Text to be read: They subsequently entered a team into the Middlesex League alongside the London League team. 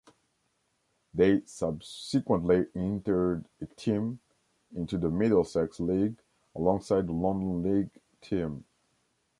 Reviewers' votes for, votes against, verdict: 1, 2, rejected